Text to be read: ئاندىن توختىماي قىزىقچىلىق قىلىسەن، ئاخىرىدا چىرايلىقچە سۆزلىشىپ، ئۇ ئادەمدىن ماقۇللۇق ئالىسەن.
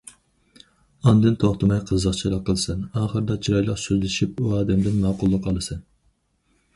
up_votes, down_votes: 2, 2